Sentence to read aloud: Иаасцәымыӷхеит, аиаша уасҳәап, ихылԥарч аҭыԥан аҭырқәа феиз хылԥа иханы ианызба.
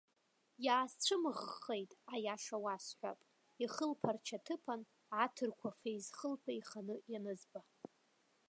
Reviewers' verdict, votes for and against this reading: rejected, 0, 2